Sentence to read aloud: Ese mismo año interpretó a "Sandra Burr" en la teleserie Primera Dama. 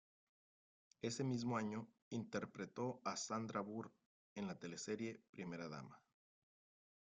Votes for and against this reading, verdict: 3, 1, accepted